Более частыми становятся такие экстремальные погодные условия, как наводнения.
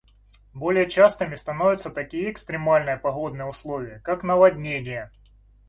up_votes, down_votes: 2, 0